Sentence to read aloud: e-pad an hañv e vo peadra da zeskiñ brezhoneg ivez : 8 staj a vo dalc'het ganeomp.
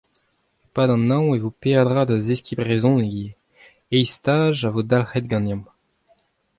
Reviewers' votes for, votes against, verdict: 0, 2, rejected